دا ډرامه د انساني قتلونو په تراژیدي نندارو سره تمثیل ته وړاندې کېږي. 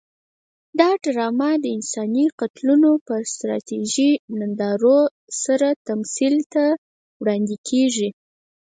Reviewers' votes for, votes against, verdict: 2, 4, rejected